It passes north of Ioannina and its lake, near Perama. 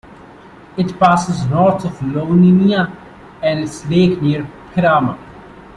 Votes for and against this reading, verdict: 0, 3, rejected